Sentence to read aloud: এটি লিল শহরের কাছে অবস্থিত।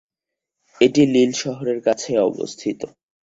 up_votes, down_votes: 2, 0